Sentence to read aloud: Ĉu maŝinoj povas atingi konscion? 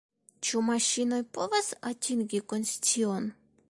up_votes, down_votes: 1, 2